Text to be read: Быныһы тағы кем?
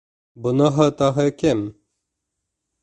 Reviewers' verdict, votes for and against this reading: rejected, 1, 2